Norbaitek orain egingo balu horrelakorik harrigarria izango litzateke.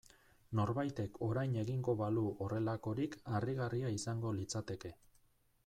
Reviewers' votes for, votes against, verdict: 2, 0, accepted